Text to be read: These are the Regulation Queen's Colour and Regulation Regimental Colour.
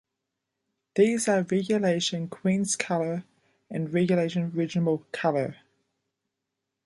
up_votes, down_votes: 0, 2